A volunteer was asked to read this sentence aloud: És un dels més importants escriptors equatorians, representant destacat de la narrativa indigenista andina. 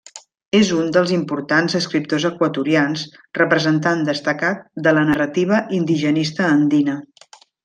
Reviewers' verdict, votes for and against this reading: rejected, 0, 2